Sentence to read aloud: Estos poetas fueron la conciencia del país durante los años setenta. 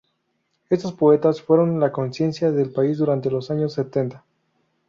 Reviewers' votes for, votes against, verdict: 0, 2, rejected